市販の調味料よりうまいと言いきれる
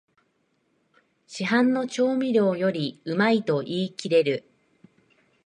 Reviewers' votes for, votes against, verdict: 2, 0, accepted